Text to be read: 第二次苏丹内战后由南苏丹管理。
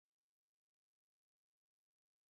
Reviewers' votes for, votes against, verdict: 1, 2, rejected